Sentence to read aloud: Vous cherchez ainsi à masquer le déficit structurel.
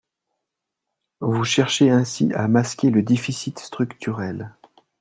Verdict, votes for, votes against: accepted, 4, 0